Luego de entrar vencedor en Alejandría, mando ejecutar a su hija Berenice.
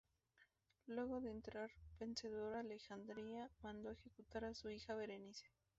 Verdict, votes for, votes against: rejected, 0, 2